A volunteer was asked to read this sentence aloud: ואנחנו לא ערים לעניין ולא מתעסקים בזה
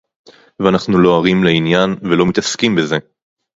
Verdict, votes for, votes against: rejected, 2, 2